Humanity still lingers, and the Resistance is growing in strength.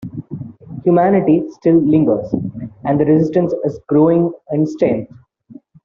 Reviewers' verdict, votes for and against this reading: accepted, 2, 0